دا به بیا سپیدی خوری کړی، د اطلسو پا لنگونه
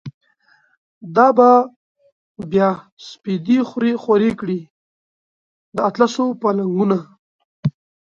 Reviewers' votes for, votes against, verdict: 1, 2, rejected